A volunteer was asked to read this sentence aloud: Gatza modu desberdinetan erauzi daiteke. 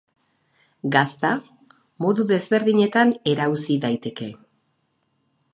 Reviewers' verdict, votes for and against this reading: rejected, 0, 4